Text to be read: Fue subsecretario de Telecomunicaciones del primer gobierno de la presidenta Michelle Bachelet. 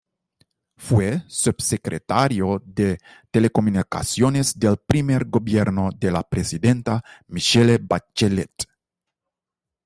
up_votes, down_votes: 0, 2